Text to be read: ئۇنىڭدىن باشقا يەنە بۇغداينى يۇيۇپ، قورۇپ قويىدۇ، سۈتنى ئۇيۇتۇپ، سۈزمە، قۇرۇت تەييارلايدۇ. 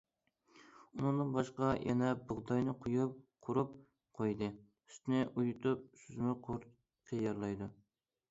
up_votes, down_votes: 0, 2